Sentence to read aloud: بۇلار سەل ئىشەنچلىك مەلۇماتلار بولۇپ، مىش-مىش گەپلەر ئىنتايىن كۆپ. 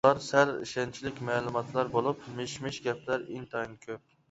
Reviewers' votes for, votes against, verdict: 0, 2, rejected